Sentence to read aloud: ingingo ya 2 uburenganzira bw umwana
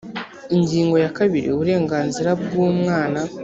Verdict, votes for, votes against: rejected, 0, 2